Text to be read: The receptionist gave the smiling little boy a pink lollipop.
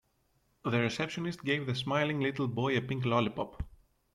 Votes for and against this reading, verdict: 2, 0, accepted